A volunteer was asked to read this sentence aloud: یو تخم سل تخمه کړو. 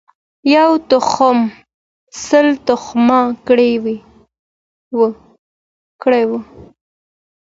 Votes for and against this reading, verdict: 1, 2, rejected